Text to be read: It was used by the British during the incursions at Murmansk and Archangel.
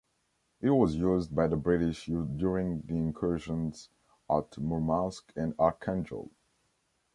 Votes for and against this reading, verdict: 2, 0, accepted